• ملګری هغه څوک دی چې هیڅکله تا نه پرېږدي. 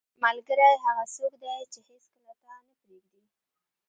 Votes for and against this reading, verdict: 2, 0, accepted